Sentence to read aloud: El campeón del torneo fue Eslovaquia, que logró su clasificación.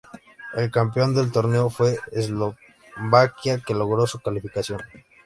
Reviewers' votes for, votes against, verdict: 0, 3, rejected